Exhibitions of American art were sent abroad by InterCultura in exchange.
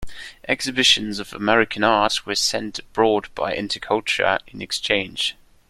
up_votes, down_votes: 1, 2